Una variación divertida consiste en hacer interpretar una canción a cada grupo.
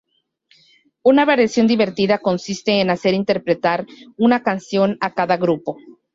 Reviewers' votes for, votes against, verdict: 2, 2, rejected